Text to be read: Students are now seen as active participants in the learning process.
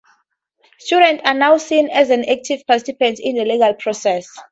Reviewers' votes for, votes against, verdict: 2, 0, accepted